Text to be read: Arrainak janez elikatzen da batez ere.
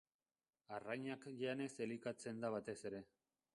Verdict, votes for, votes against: rejected, 0, 2